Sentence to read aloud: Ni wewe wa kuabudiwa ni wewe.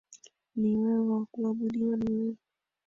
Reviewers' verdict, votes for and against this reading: accepted, 2, 1